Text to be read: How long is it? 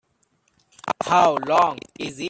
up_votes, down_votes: 0, 2